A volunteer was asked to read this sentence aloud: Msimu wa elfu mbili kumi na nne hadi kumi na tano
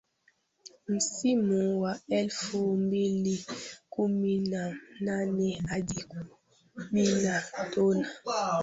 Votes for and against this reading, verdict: 0, 2, rejected